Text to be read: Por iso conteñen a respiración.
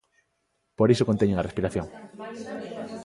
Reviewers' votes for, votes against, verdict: 2, 0, accepted